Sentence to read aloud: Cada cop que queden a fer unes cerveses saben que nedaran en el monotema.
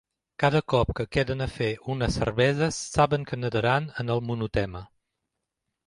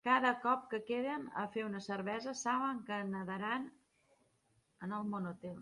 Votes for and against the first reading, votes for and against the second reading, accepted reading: 2, 0, 1, 2, first